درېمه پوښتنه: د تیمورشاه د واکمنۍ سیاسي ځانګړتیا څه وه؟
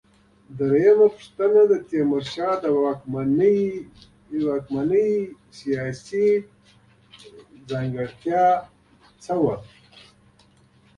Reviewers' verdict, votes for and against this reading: rejected, 0, 2